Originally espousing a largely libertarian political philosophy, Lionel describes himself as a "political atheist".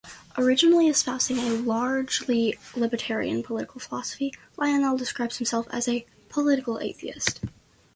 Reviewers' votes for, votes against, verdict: 2, 0, accepted